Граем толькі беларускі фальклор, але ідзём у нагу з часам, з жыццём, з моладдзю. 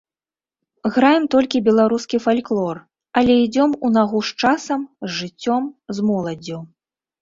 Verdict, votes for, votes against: accepted, 2, 0